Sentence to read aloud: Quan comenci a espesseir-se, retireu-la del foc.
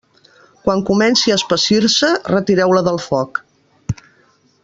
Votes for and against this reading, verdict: 0, 2, rejected